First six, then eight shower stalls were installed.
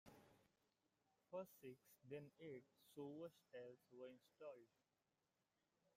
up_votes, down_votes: 0, 2